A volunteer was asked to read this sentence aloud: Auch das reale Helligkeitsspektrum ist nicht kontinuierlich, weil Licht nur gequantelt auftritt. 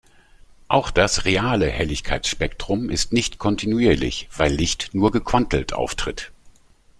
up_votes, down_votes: 2, 0